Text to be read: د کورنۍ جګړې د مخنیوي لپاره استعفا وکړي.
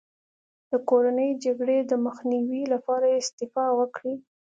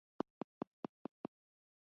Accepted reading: first